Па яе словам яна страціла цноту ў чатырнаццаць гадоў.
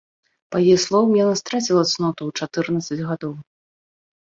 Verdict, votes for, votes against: rejected, 1, 2